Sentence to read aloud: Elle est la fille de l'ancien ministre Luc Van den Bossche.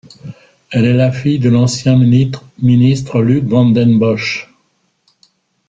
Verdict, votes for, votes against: rejected, 1, 3